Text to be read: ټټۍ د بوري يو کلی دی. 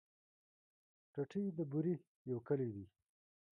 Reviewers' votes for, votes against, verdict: 1, 2, rejected